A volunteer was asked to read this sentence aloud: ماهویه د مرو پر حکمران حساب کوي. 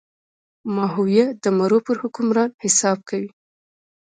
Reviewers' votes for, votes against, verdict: 2, 0, accepted